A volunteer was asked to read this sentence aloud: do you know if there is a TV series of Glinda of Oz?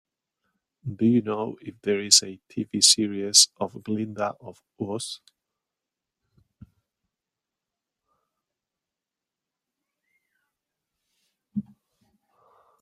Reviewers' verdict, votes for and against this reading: rejected, 0, 2